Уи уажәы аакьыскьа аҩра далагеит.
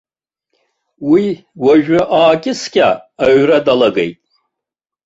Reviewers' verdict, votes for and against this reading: accepted, 2, 0